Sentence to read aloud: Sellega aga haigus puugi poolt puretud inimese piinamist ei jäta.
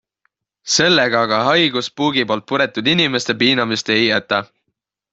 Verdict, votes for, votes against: accepted, 4, 0